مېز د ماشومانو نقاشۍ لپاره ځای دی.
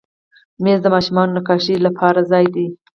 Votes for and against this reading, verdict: 4, 0, accepted